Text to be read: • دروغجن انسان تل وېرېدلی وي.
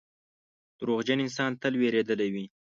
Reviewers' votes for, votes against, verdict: 2, 0, accepted